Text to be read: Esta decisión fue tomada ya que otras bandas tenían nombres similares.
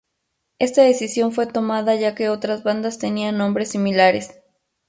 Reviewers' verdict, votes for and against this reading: accepted, 4, 0